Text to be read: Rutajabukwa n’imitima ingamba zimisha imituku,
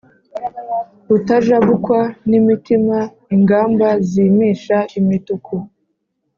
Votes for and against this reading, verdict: 3, 0, accepted